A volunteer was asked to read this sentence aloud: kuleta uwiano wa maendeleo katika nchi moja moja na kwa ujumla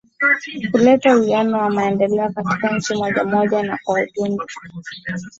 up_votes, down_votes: 2, 2